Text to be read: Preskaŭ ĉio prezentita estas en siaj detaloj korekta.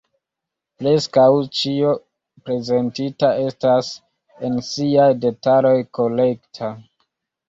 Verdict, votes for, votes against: accepted, 2, 0